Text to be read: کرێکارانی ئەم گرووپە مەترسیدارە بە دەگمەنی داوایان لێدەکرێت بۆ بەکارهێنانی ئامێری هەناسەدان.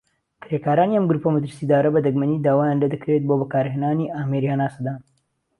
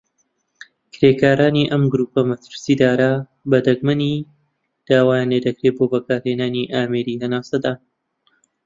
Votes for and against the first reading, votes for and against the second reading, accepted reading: 2, 0, 1, 2, first